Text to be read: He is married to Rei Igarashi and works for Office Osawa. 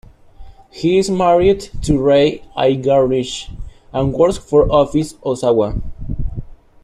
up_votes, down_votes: 2, 1